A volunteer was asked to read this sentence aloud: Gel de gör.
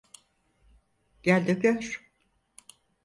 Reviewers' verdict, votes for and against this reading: accepted, 4, 0